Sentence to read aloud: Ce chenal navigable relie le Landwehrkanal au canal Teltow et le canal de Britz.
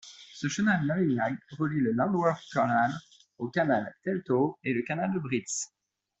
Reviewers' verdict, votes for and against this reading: rejected, 1, 2